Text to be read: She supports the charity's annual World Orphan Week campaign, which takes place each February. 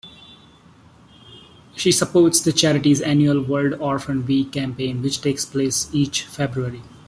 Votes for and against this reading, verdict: 2, 0, accepted